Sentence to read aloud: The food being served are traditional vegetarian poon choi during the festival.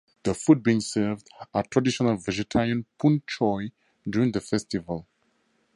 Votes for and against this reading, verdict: 4, 0, accepted